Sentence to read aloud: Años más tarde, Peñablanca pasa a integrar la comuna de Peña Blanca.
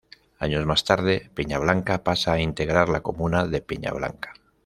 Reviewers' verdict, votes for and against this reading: accepted, 2, 0